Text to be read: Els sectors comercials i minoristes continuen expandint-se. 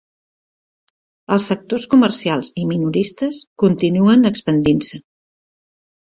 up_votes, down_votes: 2, 0